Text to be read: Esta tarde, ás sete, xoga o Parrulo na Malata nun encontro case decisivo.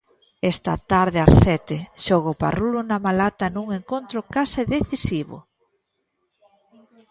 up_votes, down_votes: 2, 0